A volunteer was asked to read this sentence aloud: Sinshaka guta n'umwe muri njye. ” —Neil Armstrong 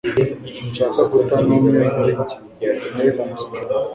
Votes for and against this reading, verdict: 0, 2, rejected